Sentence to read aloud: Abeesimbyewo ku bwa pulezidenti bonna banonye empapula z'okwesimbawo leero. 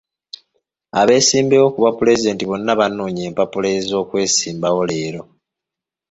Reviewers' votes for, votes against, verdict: 2, 1, accepted